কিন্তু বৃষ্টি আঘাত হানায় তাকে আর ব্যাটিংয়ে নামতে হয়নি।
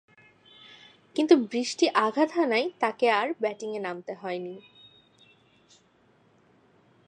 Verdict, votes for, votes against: accepted, 2, 1